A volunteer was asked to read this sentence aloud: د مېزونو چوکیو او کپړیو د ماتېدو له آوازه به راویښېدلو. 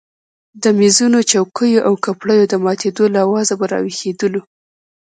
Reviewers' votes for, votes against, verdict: 2, 0, accepted